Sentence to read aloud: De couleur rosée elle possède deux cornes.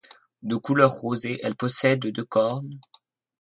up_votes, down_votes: 2, 0